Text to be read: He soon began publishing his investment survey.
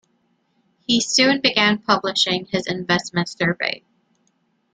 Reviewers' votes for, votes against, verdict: 2, 0, accepted